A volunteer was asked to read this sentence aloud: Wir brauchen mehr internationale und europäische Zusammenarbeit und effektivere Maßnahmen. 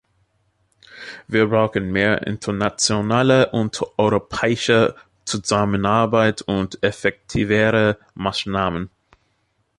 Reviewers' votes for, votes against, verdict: 0, 2, rejected